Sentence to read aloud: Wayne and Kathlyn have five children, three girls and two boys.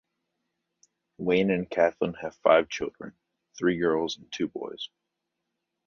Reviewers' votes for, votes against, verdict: 2, 0, accepted